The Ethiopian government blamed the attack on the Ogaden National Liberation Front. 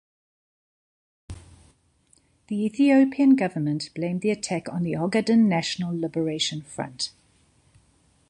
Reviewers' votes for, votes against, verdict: 2, 0, accepted